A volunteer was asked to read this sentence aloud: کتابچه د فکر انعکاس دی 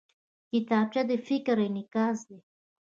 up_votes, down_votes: 1, 2